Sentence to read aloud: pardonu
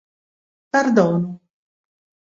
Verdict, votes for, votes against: rejected, 0, 2